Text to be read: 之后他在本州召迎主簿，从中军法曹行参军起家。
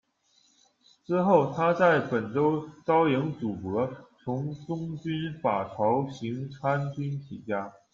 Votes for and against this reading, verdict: 1, 2, rejected